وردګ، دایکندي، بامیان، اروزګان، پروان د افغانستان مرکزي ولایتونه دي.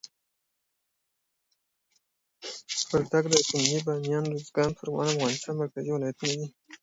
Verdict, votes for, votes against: accepted, 2, 0